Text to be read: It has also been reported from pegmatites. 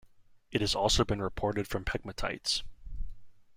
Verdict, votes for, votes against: accepted, 2, 0